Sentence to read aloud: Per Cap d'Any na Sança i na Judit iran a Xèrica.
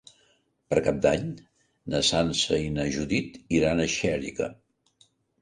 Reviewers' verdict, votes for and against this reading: accepted, 3, 0